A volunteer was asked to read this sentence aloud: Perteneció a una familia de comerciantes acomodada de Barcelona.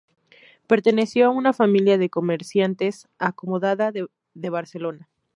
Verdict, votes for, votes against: rejected, 0, 4